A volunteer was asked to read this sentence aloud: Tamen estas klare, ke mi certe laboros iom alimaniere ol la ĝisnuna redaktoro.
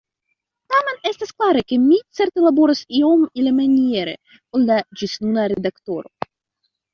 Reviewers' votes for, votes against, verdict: 2, 1, accepted